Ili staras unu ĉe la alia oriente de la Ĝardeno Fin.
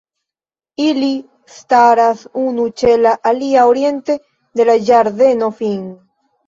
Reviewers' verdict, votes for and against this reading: accepted, 2, 0